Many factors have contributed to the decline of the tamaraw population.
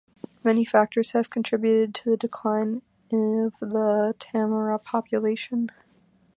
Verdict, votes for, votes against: rejected, 0, 2